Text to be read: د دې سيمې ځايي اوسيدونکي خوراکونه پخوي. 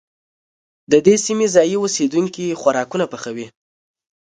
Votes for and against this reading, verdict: 2, 0, accepted